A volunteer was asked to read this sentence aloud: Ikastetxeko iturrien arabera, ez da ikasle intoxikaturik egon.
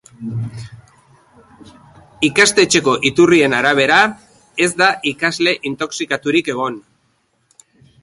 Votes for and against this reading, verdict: 7, 0, accepted